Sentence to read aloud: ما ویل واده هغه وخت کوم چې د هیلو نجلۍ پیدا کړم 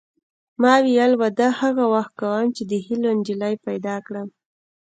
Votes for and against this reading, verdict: 2, 0, accepted